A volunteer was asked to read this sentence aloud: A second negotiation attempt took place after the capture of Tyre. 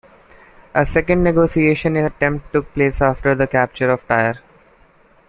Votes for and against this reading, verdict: 2, 0, accepted